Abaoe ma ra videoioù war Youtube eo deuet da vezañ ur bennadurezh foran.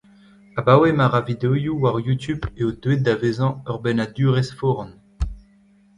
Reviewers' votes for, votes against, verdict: 0, 2, rejected